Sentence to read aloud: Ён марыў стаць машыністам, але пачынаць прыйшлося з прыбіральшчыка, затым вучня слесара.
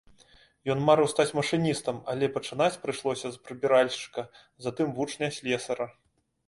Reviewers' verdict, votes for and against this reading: accepted, 2, 0